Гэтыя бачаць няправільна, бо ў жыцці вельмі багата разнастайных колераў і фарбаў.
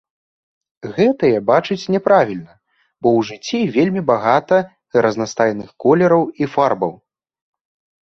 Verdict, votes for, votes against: accepted, 2, 0